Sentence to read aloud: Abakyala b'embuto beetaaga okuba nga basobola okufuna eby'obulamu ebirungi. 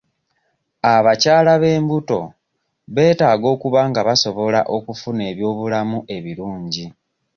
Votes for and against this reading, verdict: 2, 0, accepted